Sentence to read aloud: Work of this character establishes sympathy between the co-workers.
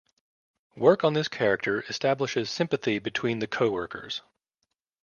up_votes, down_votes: 0, 2